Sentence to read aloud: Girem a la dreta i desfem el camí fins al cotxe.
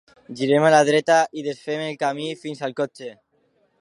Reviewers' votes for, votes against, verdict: 2, 1, accepted